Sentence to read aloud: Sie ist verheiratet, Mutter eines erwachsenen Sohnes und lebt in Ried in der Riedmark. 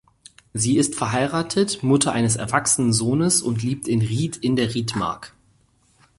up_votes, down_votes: 2, 4